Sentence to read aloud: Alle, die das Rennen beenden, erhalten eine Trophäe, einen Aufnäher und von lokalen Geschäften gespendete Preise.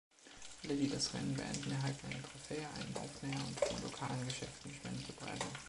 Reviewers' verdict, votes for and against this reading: rejected, 1, 2